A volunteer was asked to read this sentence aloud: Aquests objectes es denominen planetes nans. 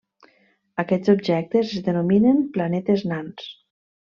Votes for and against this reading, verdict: 2, 0, accepted